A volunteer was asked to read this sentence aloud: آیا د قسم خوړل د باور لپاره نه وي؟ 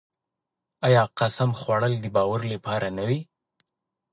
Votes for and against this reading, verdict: 2, 0, accepted